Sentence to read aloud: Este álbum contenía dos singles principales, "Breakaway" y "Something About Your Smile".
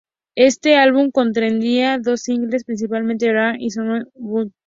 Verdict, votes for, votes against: rejected, 0, 2